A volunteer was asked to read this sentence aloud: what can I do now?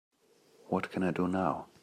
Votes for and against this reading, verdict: 2, 0, accepted